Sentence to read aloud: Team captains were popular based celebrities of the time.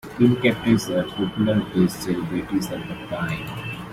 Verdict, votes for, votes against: accepted, 2, 0